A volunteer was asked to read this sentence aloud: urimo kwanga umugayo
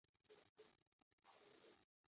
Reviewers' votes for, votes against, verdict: 0, 2, rejected